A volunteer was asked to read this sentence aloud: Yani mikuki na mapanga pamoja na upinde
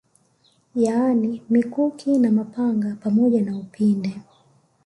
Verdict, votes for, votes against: rejected, 1, 2